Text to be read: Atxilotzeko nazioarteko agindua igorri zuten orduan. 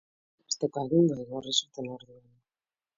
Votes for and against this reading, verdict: 1, 2, rejected